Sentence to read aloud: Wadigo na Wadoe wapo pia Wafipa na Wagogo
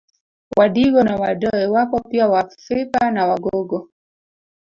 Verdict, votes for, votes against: rejected, 1, 2